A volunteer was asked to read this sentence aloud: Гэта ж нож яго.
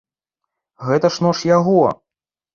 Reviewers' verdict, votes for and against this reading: accepted, 2, 0